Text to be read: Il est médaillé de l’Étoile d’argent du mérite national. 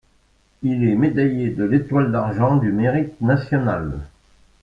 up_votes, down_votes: 1, 2